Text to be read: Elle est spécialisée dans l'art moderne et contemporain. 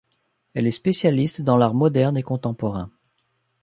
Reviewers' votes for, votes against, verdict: 0, 2, rejected